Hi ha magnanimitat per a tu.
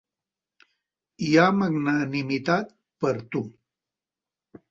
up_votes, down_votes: 1, 2